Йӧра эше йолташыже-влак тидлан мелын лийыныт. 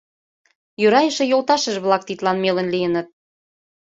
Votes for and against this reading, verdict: 2, 0, accepted